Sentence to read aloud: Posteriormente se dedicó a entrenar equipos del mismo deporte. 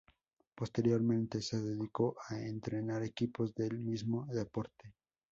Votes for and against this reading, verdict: 0, 2, rejected